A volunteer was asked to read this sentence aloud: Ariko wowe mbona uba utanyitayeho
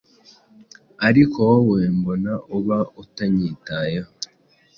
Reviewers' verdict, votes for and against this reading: accepted, 2, 0